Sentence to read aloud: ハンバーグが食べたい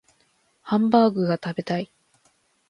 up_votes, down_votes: 2, 0